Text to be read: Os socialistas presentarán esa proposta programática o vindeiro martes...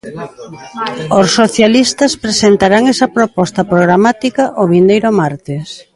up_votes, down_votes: 0, 2